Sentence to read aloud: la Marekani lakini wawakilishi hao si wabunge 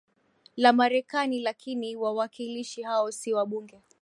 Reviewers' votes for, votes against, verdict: 4, 1, accepted